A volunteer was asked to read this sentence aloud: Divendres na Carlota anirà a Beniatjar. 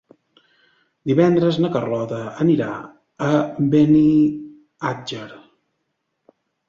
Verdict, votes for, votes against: rejected, 1, 2